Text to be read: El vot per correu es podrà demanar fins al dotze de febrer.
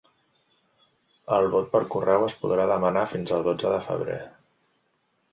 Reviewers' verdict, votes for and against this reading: accepted, 3, 1